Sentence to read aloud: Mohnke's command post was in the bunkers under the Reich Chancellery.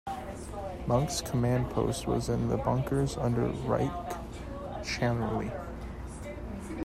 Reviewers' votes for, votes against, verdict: 1, 2, rejected